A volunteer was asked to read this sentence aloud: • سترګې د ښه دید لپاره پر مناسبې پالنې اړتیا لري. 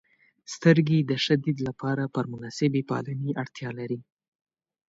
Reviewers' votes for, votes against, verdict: 2, 0, accepted